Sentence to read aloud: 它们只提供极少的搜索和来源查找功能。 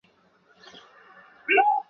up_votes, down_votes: 0, 2